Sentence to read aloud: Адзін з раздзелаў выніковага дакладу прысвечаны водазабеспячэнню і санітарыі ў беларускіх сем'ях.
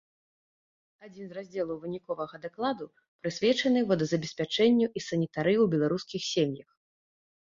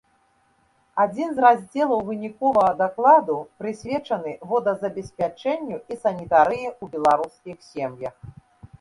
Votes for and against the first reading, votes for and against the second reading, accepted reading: 0, 2, 2, 0, second